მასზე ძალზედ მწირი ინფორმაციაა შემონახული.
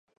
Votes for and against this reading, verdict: 0, 2, rejected